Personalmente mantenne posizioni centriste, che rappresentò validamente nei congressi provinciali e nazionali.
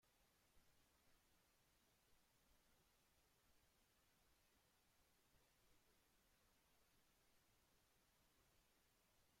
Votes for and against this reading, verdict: 0, 2, rejected